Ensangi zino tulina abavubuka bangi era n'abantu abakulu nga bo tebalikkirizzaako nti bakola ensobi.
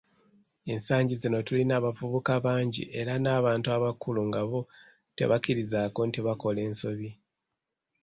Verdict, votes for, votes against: accepted, 2, 1